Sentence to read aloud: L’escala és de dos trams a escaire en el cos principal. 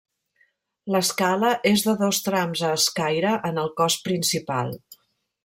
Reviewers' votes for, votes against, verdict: 1, 2, rejected